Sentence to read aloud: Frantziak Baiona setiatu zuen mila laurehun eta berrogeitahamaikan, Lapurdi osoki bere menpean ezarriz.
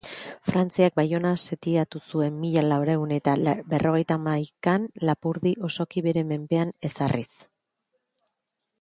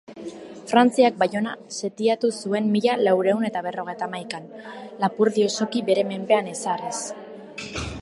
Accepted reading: second